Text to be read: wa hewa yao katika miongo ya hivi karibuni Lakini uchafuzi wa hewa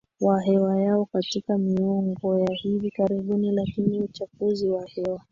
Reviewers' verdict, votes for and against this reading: accepted, 2, 0